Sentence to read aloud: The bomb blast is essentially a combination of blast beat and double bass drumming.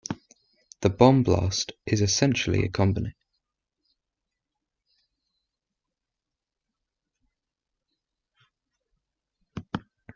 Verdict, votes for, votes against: rejected, 0, 2